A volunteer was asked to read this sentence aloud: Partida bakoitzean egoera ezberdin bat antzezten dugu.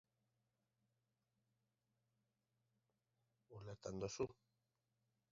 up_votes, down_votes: 0, 2